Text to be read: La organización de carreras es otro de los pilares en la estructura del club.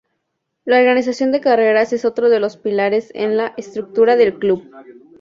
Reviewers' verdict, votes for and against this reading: accepted, 2, 0